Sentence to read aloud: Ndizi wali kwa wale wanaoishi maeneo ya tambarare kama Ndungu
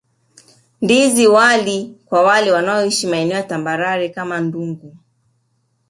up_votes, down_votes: 2, 0